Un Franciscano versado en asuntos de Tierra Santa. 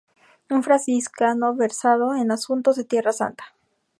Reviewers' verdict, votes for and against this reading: rejected, 0, 2